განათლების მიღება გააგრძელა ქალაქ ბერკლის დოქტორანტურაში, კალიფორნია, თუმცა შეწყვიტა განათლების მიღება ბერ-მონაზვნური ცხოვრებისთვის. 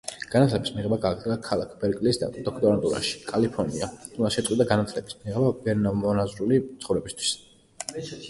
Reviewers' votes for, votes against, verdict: 0, 2, rejected